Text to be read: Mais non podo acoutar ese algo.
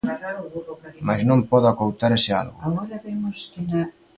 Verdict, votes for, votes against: rejected, 0, 2